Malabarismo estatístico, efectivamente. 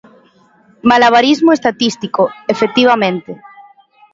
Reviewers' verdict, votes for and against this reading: accepted, 2, 0